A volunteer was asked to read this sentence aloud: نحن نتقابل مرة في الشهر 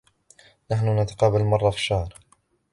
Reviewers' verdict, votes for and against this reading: accepted, 2, 1